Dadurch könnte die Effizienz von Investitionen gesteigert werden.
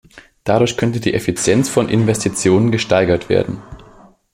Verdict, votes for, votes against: accepted, 2, 0